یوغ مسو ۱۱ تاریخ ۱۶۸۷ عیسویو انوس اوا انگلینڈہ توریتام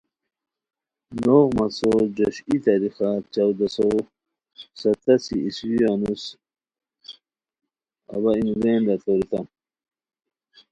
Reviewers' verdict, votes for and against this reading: rejected, 0, 2